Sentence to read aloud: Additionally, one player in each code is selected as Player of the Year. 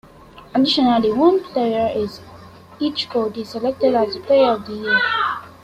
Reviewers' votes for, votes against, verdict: 2, 1, accepted